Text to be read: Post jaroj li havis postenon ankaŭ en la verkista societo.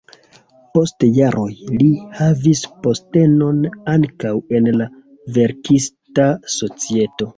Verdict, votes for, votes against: rejected, 0, 2